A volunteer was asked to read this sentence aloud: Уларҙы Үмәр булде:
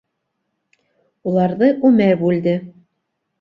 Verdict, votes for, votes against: rejected, 1, 2